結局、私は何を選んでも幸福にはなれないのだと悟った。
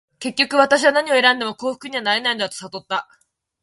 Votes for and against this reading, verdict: 2, 0, accepted